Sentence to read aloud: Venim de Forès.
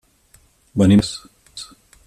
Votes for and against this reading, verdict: 0, 6, rejected